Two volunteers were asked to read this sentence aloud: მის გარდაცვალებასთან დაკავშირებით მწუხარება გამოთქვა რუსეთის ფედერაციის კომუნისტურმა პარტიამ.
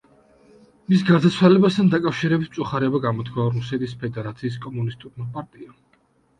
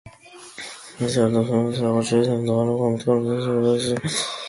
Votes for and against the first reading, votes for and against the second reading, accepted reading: 2, 0, 0, 2, first